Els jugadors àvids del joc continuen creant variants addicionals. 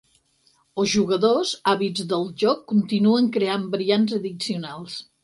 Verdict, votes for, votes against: rejected, 2, 4